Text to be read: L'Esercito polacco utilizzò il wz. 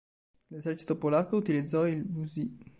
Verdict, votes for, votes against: rejected, 1, 3